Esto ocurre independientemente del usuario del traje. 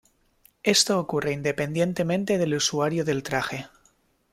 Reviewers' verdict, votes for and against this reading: accepted, 2, 0